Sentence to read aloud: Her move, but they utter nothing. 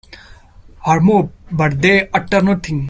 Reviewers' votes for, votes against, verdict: 2, 1, accepted